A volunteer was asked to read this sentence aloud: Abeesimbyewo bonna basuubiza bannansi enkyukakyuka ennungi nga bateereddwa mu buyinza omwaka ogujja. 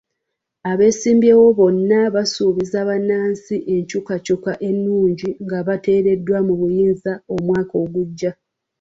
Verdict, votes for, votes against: accepted, 2, 0